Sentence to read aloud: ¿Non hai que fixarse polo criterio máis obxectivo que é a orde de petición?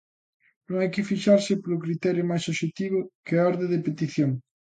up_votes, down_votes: 2, 0